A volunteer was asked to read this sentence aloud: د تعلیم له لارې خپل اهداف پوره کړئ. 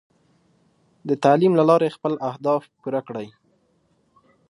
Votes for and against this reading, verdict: 2, 0, accepted